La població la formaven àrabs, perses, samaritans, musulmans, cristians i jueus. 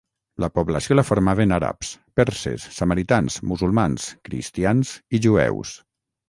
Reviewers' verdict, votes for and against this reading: accepted, 6, 0